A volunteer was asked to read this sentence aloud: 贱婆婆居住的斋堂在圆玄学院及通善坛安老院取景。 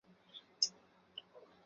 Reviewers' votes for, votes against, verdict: 0, 8, rejected